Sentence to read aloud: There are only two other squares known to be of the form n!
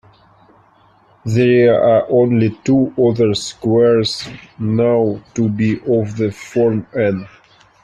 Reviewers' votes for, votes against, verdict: 0, 2, rejected